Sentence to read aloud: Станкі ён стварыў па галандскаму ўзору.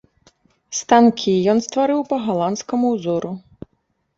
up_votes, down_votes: 2, 0